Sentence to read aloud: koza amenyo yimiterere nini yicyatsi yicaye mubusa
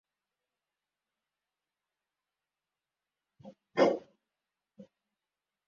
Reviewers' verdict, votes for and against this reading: rejected, 0, 2